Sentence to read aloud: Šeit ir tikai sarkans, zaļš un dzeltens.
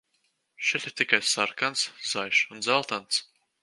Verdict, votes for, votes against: rejected, 0, 2